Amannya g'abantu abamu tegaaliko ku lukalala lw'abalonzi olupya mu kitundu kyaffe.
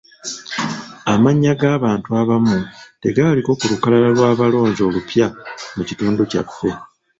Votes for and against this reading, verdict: 0, 2, rejected